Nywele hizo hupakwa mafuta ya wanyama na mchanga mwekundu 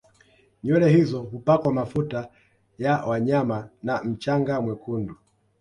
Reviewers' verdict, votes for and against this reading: accepted, 2, 0